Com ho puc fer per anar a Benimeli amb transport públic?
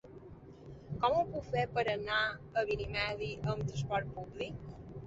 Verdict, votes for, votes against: rejected, 0, 2